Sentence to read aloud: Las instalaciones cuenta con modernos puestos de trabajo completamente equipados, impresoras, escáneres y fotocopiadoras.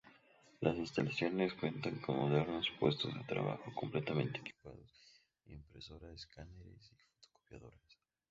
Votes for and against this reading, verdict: 0, 2, rejected